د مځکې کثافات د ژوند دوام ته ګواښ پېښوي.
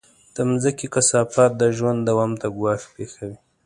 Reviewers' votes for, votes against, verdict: 2, 0, accepted